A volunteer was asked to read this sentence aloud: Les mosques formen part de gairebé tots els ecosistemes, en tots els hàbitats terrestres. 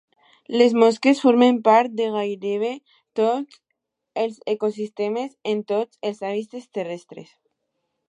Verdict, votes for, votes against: accepted, 2, 0